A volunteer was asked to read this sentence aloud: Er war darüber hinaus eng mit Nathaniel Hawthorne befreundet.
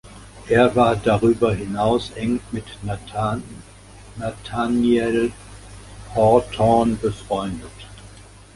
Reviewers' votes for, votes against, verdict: 0, 2, rejected